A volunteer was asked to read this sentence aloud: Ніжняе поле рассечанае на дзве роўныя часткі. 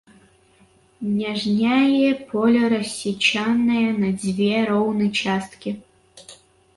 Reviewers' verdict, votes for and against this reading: rejected, 0, 2